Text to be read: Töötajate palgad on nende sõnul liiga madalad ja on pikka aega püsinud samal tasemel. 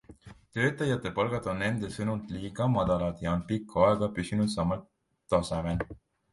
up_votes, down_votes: 2, 0